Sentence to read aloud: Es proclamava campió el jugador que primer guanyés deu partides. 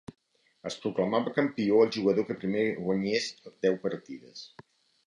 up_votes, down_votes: 2, 0